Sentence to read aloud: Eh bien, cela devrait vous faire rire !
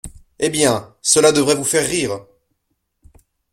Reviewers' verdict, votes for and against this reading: accepted, 2, 0